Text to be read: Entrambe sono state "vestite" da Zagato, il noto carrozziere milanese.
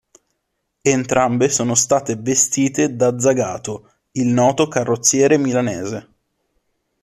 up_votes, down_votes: 2, 0